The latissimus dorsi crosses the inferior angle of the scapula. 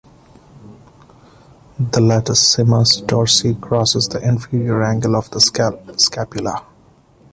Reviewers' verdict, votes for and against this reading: rejected, 1, 2